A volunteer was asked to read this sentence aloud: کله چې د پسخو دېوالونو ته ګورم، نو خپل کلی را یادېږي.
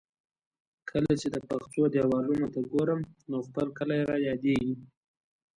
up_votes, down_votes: 2, 1